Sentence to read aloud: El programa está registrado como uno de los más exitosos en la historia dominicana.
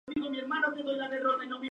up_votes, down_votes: 0, 2